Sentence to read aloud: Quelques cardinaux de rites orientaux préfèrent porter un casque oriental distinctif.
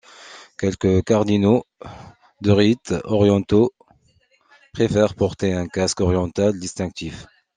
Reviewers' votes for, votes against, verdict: 1, 2, rejected